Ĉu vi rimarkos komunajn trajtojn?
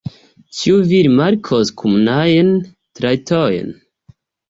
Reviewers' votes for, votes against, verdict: 2, 0, accepted